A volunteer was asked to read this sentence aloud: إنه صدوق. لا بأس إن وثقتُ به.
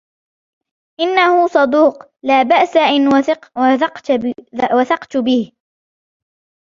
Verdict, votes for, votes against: rejected, 1, 2